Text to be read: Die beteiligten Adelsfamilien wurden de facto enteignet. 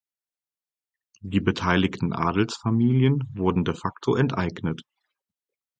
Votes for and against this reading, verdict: 6, 0, accepted